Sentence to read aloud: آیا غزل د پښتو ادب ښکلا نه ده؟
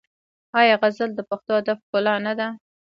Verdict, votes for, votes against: rejected, 2, 3